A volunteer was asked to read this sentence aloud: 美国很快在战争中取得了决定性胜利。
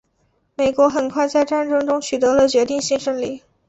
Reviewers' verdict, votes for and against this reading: accepted, 2, 0